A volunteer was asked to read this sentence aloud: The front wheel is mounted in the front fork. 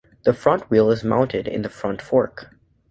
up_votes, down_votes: 2, 0